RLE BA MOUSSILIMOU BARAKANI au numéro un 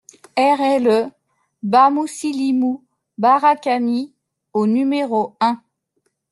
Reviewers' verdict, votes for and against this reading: accepted, 2, 0